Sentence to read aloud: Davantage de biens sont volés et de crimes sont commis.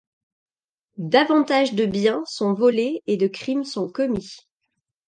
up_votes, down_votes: 2, 0